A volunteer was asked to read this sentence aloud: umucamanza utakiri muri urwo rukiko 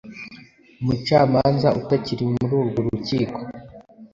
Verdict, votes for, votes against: accepted, 2, 0